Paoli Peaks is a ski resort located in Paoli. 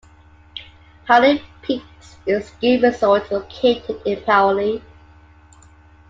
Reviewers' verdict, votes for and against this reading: accepted, 2, 1